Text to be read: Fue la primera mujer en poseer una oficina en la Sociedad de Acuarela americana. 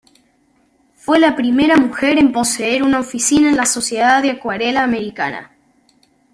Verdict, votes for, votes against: accepted, 2, 0